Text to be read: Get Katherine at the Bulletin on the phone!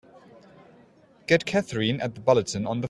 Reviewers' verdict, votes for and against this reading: rejected, 0, 2